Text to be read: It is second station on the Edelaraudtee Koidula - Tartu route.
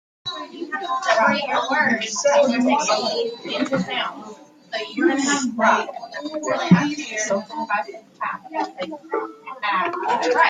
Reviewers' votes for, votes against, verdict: 0, 2, rejected